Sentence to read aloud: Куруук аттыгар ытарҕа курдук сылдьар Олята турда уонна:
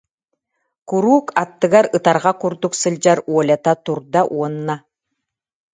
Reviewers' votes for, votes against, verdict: 2, 0, accepted